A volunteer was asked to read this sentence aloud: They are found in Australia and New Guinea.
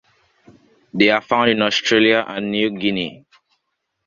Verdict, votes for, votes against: accepted, 2, 0